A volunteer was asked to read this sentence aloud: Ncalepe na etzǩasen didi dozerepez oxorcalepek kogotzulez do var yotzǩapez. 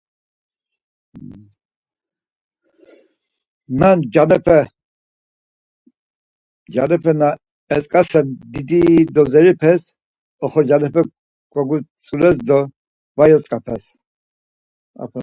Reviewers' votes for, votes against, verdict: 2, 4, rejected